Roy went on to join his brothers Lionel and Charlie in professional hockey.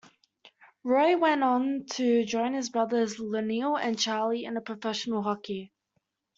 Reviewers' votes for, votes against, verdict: 2, 1, accepted